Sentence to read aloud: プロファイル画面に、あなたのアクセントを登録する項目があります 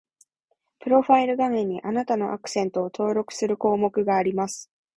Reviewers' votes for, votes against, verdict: 2, 0, accepted